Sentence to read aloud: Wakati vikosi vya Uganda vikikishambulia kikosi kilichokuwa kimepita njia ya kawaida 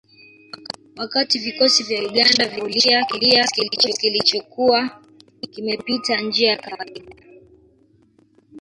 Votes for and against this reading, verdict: 0, 2, rejected